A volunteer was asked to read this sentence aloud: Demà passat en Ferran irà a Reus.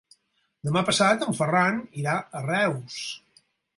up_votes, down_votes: 4, 0